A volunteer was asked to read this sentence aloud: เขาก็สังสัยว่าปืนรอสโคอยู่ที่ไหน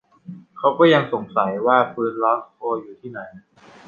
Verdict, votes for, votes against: rejected, 0, 2